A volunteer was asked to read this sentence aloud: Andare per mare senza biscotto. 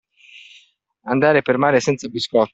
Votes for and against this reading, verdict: 1, 2, rejected